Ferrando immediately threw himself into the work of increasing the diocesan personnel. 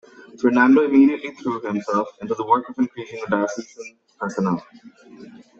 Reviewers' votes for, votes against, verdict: 0, 2, rejected